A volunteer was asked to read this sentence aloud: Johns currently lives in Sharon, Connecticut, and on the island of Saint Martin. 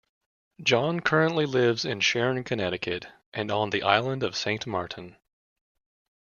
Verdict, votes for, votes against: rejected, 1, 2